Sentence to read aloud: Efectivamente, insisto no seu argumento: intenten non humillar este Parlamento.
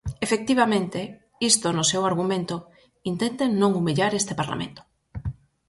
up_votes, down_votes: 0, 4